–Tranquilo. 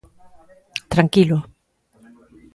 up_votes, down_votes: 2, 0